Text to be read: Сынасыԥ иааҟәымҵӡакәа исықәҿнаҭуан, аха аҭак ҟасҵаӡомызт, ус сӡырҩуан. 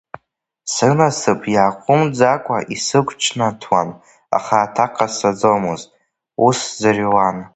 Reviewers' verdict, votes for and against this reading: rejected, 0, 2